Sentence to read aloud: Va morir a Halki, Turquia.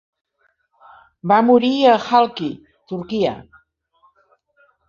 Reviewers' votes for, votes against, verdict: 3, 0, accepted